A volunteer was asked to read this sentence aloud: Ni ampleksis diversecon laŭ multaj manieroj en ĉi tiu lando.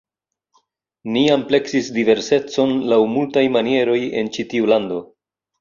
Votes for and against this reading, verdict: 2, 0, accepted